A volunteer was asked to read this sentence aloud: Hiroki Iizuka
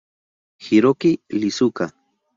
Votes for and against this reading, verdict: 0, 2, rejected